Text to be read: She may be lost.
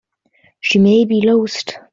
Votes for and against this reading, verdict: 2, 1, accepted